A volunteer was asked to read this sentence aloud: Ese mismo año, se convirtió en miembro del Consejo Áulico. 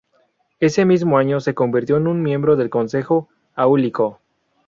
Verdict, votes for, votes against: rejected, 0, 2